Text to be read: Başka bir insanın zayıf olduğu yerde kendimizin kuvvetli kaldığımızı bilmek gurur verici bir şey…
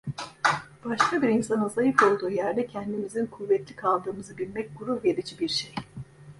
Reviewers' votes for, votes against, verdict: 1, 2, rejected